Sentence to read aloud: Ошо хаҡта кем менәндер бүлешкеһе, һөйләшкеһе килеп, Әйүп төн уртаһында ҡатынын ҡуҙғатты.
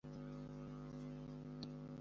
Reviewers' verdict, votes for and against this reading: rejected, 0, 2